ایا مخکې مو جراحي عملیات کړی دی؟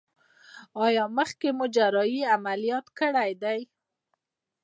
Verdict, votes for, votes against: accepted, 2, 0